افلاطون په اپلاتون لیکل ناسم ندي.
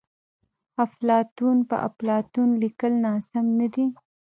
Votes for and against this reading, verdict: 0, 2, rejected